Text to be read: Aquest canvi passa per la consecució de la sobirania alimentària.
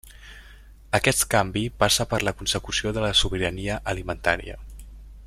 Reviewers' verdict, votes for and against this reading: accepted, 2, 0